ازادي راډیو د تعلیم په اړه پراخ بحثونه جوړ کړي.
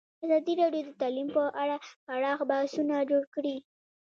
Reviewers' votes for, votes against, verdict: 1, 2, rejected